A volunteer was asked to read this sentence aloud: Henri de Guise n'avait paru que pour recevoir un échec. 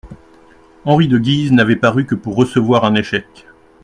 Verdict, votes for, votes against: accepted, 2, 0